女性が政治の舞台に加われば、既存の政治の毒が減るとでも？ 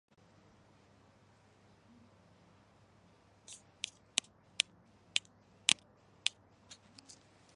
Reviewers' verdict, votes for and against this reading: rejected, 1, 2